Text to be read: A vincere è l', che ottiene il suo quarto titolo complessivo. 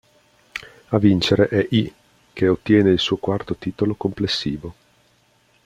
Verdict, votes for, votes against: rejected, 1, 2